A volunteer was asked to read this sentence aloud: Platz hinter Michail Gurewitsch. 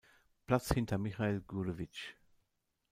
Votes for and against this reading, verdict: 0, 2, rejected